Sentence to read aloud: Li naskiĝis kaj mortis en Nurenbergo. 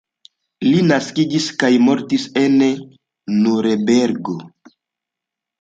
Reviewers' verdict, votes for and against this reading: accepted, 2, 0